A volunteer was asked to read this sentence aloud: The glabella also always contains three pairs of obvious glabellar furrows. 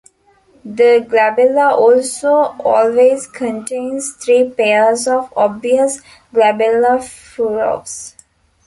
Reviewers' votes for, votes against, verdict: 0, 2, rejected